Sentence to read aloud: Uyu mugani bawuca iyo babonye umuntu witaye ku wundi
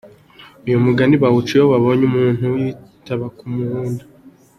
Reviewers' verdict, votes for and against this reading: rejected, 0, 2